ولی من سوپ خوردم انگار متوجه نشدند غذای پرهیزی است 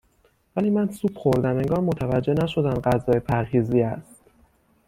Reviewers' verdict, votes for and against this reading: accepted, 6, 0